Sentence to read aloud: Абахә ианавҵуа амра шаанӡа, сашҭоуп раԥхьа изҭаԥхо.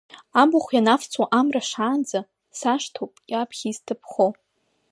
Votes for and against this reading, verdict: 1, 2, rejected